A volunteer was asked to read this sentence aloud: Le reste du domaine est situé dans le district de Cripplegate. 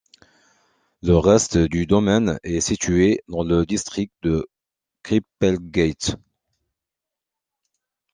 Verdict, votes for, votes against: rejected, 0, 2